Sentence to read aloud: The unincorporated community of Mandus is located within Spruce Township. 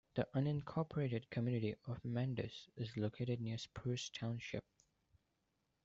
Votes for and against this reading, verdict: 1, 2, rejected